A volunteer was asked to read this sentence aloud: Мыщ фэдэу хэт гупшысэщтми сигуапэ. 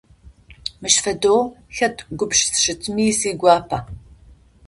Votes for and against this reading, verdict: 0, 2, rejected